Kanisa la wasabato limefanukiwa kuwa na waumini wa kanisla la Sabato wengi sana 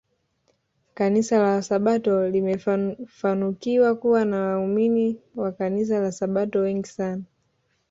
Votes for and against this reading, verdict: 2, 0, accepted